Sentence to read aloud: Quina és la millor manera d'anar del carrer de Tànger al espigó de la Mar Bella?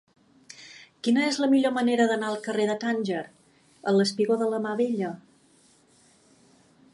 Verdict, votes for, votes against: rejected, 1, 2